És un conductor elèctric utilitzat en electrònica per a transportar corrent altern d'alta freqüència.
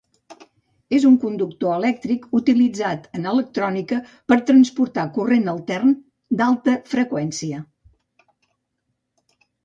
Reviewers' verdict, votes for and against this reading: rejected, 0, 2